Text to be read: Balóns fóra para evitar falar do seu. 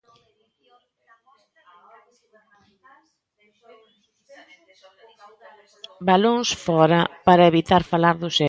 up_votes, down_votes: 0, 3